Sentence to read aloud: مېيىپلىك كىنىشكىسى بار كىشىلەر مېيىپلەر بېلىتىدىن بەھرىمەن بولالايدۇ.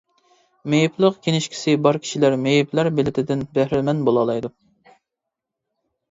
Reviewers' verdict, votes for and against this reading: rejected, 0, 2